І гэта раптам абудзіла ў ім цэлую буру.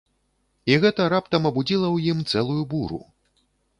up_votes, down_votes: 2, 0